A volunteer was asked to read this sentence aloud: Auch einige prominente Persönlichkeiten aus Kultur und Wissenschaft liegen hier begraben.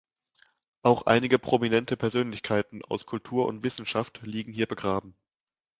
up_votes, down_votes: 2, 0